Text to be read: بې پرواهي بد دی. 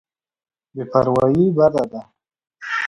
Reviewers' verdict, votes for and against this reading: accepted, 2, 0